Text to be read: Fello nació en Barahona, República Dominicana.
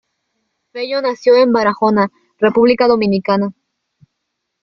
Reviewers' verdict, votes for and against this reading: accepted, 2, 0